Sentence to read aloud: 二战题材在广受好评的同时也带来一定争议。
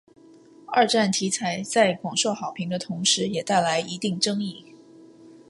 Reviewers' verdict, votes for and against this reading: accepted, 2, 0